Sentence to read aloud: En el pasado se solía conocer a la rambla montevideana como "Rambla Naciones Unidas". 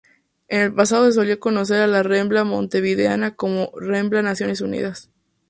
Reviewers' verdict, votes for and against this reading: rejected, 0, 2